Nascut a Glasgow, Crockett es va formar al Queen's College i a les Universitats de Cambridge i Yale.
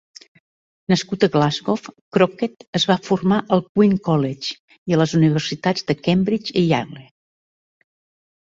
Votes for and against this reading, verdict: 0, 3, rejected